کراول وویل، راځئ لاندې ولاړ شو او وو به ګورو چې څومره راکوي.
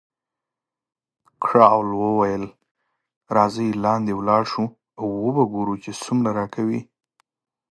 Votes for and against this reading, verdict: 4, 0, accepted